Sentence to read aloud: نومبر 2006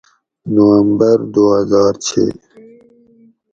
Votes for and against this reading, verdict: 0, 2, rejected